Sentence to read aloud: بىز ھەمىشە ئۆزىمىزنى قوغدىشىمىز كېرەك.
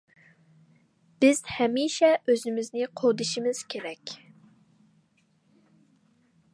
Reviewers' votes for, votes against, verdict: 2, 0, accepted